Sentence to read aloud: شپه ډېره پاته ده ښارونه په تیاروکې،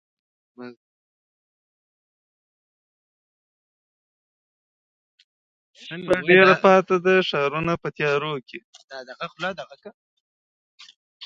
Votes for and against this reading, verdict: 0, 2, rejected